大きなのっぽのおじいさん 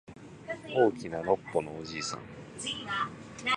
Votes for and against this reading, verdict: 2, 0, accepted